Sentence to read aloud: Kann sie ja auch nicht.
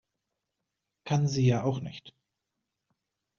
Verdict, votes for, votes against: accepted, 2, 0